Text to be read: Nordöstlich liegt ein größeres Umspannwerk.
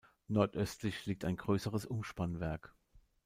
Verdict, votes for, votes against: accepted, 2, 0